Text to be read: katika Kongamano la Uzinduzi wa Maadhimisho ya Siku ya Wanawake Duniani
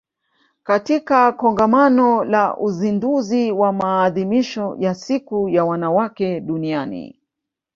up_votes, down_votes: 1, 2